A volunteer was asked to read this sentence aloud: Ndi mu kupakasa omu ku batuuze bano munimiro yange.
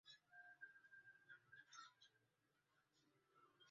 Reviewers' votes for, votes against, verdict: 0, 2, rejected